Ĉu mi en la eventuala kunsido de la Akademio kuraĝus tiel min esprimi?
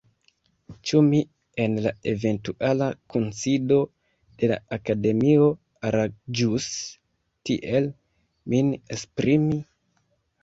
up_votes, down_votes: 0, 2